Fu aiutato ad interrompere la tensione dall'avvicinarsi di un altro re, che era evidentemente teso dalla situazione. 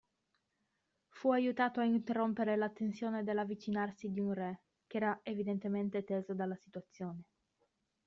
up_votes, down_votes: 0, 2